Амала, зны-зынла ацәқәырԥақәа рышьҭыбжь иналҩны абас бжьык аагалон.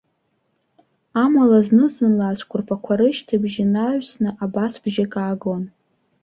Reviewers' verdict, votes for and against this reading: rejected, 0, 2